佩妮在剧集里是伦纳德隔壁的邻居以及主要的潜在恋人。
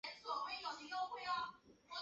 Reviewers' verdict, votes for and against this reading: rejected, 4, 4